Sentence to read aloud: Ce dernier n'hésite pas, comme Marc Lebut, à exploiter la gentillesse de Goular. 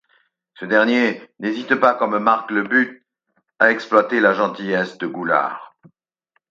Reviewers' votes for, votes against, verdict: 4, 2, accepted